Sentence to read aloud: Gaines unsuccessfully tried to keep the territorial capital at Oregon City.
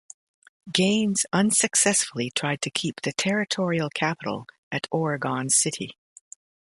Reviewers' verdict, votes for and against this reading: accepted, 2, 0